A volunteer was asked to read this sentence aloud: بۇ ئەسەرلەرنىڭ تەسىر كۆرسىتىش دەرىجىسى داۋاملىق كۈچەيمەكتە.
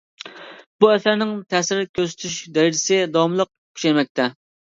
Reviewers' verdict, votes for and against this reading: rejected, 0, 2